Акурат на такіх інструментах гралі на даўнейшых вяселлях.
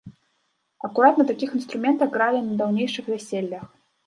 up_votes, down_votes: 2, 1